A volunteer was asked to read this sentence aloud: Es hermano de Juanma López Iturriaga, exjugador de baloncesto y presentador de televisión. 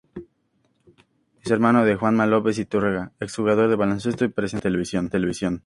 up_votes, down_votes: 2, 0